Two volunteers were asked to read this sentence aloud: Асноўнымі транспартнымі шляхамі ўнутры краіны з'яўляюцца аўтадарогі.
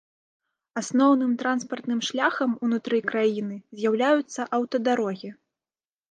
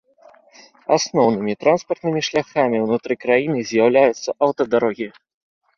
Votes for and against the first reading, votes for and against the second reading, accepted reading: 1, 2, 2, 0, second